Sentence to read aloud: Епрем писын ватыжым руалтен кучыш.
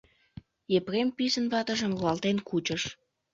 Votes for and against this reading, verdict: 1, 2, rejected